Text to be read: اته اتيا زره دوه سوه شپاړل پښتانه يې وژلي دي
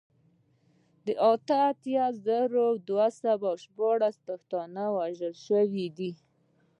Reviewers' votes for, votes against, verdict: 1, 2, rejected